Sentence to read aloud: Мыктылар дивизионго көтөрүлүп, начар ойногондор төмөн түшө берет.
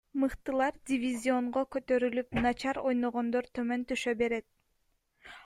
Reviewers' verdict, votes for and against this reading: accepted, 3, 2